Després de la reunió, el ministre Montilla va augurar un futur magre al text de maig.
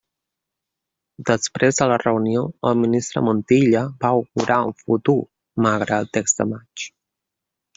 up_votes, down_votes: 0, 2